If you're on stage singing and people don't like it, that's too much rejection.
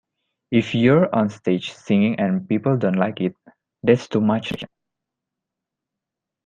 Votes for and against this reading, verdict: 0, 2, rejected